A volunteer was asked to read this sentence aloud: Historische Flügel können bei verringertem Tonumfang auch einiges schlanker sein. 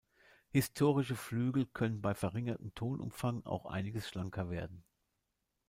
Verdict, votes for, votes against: rejected, 0, 2